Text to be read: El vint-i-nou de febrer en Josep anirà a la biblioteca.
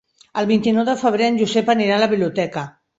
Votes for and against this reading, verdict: 3, 0, accepted